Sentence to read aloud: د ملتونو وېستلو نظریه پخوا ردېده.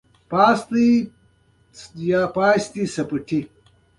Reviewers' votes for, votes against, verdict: 2, 0, accepted